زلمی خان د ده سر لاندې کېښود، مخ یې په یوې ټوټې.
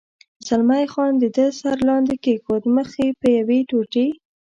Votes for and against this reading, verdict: 2, 0, accepted